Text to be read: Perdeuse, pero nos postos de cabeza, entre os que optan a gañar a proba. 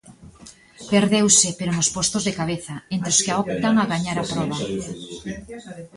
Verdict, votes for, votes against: rejected, 1, 2